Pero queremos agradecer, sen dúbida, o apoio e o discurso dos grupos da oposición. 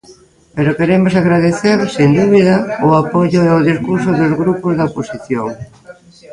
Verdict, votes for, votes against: rejected, 0, 2